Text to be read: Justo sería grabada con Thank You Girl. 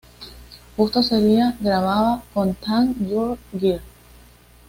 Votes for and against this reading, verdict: 2, 0, accepted